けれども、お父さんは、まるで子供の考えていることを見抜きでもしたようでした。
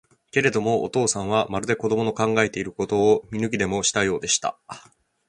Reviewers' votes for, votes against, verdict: 2, 1, accepted